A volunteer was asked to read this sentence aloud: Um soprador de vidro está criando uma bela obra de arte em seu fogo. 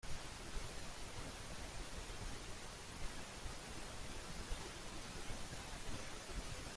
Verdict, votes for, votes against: rejected, 0, 2